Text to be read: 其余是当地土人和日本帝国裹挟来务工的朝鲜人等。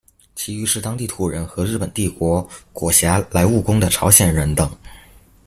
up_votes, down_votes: 2, 1